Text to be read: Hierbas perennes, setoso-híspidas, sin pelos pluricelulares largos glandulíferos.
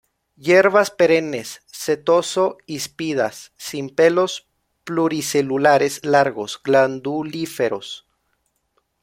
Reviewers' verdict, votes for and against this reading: accepted, 2, 0